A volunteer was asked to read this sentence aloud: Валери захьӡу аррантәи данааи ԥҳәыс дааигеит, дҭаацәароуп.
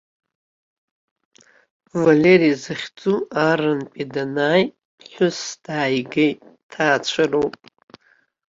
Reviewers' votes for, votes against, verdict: 2, 1, accepted